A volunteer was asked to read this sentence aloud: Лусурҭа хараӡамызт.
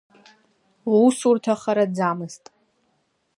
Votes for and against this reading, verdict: 2, 0, accepted